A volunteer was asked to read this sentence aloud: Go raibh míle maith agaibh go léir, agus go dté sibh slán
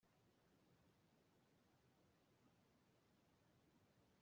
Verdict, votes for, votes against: rejected, 0, 2